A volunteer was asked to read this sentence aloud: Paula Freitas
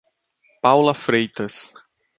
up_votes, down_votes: 2, 0